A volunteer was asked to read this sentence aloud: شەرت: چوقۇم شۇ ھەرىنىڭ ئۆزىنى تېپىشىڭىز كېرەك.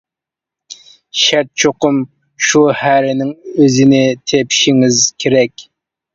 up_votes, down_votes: 2, 0